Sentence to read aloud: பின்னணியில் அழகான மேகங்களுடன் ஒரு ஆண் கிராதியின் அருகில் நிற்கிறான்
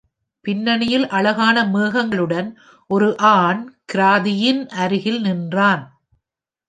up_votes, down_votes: 0, 2